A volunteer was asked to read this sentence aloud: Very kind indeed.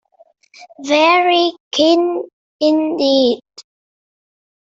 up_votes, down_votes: 0, 2